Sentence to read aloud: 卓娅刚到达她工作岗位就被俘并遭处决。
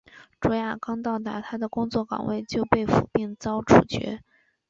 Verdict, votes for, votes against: accepted, 4, 0